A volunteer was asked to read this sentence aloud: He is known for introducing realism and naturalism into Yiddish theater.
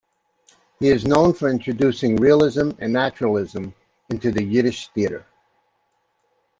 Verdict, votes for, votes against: accepted, 2, 1